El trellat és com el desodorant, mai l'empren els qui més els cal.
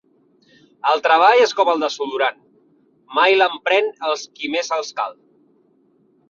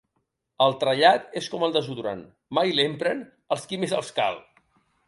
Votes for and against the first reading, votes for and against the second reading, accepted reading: 0, 2, 2, 0, second